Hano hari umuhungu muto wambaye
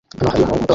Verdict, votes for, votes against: rejected, 0, 2